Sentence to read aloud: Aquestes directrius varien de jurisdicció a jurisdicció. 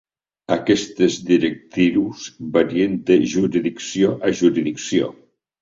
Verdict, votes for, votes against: rejected, 1, 2